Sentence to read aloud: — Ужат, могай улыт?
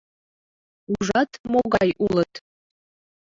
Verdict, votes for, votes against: accepted, 2, 0